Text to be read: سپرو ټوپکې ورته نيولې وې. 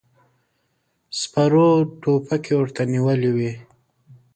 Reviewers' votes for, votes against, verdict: 2, 0, accepted